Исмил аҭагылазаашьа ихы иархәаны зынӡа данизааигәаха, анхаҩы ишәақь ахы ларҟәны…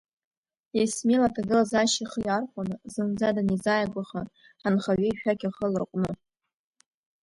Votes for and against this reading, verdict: 2, 1, accepted